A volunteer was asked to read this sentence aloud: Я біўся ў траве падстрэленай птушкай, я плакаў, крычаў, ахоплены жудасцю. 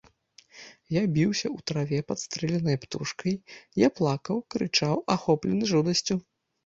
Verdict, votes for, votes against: rejected, 1, 2